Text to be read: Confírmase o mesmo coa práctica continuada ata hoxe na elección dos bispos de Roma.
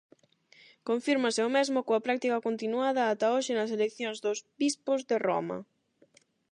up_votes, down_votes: 4, 8